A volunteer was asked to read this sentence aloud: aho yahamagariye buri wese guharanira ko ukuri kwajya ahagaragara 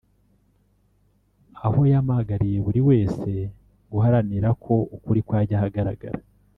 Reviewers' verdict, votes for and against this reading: rejected, 0, 2